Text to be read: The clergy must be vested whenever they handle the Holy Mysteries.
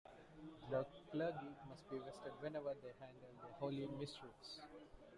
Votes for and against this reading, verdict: 0, 2, rejected